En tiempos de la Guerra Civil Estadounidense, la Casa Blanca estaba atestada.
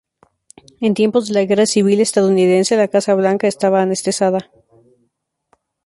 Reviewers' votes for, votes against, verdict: 0, 4, rejected